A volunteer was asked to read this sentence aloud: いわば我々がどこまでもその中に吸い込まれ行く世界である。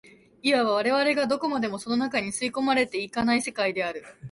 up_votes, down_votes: 2, 1